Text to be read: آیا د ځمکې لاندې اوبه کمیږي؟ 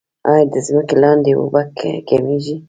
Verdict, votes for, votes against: accepted, 2, 0